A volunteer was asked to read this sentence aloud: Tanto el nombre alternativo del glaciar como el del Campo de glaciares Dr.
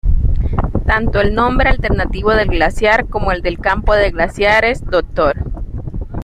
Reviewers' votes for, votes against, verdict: 0, 2, rejected